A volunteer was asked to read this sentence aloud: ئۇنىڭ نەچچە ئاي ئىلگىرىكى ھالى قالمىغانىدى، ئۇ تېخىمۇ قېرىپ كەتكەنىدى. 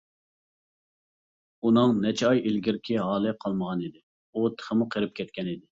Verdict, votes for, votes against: accepted, 2, 0